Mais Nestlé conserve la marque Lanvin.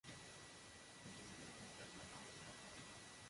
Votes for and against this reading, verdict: 0, 2, rejected